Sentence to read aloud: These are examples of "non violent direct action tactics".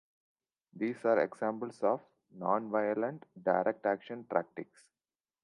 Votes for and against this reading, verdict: 2, 1, accepted